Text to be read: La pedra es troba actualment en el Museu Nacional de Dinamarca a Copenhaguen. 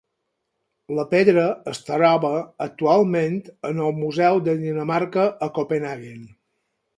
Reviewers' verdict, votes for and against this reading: rejected, 2, 4